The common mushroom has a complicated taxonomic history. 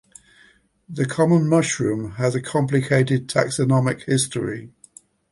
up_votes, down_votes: 2, 0